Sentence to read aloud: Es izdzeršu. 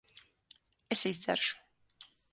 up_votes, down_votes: 6, 0